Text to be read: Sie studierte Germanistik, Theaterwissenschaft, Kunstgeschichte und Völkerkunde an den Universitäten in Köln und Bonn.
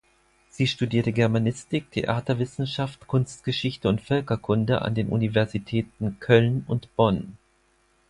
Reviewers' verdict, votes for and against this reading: rejected, 0, 4